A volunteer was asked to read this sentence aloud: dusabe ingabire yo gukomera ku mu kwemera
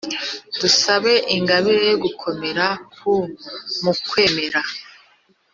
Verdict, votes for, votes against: accepted, 2, 0